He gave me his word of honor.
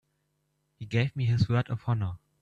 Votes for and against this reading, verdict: 1, 2, rejected